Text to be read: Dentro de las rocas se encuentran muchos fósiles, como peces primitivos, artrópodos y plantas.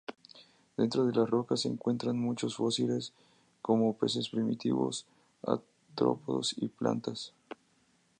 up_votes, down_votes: 2, 0